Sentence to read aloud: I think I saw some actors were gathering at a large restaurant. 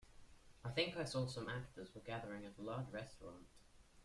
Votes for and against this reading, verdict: 0, 2, rejected